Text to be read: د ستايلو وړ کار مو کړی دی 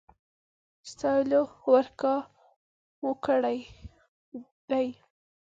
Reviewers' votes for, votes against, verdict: 1, 2, rejected